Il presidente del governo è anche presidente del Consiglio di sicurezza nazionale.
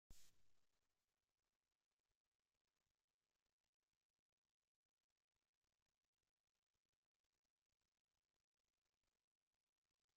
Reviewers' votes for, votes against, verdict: 0, 2, rejected